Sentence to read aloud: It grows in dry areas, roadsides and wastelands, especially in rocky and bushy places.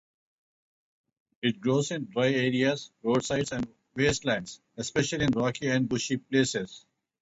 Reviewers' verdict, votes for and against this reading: accepted, 4, 0